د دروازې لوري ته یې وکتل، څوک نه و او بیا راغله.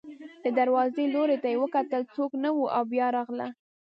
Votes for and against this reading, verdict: 1, 2, rejected